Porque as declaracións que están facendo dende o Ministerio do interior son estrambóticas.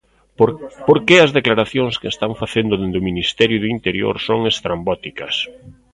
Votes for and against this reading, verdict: 0, 2, rejected